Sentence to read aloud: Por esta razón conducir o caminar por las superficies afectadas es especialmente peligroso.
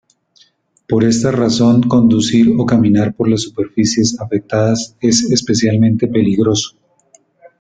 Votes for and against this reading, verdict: 1, 2, rejected